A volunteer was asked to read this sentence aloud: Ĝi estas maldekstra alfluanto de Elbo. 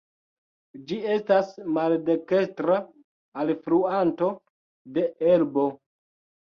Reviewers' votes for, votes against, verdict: 0, 2, rejected